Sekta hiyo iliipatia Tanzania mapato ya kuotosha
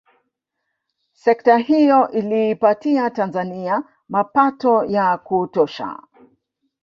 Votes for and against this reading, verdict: 0, 2, rejected